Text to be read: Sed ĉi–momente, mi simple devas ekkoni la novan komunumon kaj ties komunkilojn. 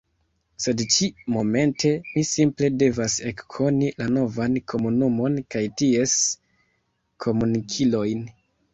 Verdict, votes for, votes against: rejected, 1, 2